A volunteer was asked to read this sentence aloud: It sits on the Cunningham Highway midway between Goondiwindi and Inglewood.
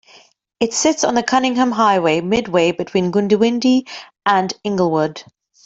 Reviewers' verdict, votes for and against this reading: accepted, 2, 0